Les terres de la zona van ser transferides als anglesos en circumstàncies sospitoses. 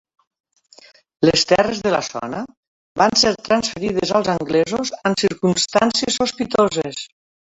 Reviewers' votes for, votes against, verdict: 1, 2, rejected